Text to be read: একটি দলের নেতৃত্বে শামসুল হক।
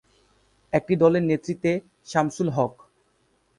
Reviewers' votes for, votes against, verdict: 4, 0, accepted